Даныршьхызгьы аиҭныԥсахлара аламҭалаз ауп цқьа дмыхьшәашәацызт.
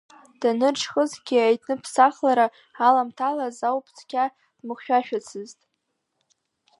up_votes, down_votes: 0, 2